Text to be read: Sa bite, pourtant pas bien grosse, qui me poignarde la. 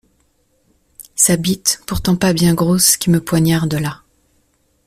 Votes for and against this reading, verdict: 1, 2, rejected